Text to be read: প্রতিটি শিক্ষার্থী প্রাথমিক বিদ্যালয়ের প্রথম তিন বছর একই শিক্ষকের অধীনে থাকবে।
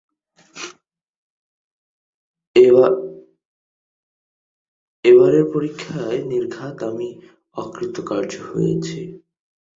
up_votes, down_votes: 0, 4